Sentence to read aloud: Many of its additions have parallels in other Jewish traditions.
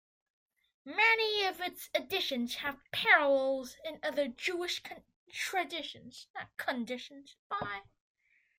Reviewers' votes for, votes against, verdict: 0, 2, rejected